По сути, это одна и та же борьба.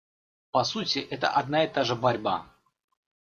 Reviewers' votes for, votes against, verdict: 2, 0, accepted